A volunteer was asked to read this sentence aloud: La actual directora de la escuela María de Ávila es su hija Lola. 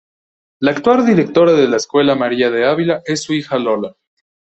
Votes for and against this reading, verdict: 2, 0, accepted